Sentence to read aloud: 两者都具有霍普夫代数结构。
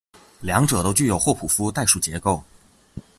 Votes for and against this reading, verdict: 2, 0, accepted